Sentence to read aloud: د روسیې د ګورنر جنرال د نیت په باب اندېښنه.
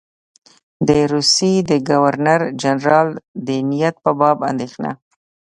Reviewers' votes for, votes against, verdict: 2, 0, accepted